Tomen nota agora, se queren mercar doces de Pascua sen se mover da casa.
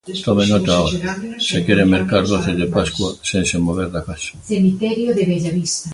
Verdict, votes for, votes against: rejected, 0, 2